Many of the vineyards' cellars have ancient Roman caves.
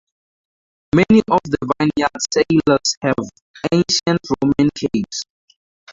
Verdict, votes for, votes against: rejected, 0, 2